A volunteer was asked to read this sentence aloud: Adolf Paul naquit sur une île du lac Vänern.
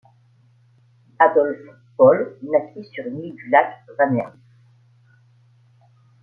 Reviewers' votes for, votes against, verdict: 1, 2, rejected